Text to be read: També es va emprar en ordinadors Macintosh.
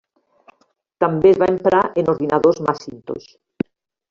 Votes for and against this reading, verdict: 0, 2, rejected